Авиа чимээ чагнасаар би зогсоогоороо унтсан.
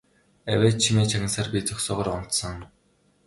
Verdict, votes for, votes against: accepted, 2, 0